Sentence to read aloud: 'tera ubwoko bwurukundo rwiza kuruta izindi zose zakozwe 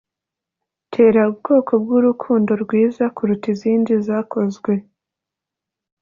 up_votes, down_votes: 4, 0